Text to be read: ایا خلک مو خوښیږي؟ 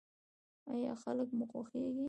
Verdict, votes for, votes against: rejected, 1, 2